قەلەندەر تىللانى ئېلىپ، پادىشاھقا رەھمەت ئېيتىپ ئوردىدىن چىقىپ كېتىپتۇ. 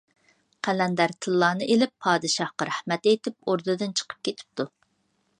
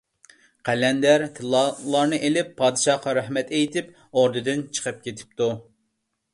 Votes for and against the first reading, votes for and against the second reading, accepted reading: 2, 0, 0, 2, first